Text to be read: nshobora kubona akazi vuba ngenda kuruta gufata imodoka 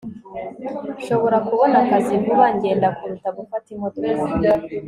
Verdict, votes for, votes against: accepted, 2, 0